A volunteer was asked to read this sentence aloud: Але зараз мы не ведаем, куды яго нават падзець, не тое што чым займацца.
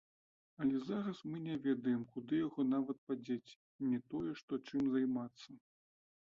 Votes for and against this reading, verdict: 2, 1, accepted